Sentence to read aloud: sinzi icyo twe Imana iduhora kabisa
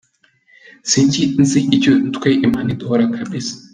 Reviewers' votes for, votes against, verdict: 0, 2, rejected